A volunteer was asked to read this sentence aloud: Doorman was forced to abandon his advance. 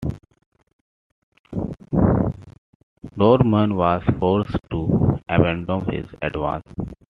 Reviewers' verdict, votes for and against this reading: accepted, 2, 0